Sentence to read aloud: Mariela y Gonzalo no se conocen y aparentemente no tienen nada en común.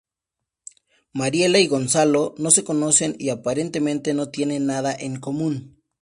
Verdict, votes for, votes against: accepted, 2, 0